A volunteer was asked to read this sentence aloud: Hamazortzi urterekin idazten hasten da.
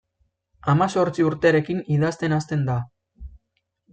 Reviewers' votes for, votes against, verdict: 2, 0, accepted